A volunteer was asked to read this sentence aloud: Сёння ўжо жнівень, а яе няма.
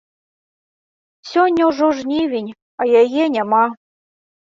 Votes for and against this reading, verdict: 2, 0, accepted